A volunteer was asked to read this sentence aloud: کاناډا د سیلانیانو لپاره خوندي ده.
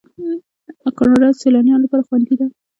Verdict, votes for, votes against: accepted, 2, 1